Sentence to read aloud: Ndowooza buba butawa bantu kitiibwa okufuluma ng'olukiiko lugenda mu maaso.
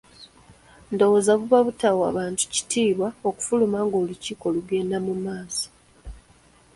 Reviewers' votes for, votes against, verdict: 2, 1, accepted